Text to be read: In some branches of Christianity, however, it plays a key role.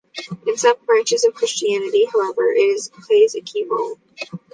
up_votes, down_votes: 0, 2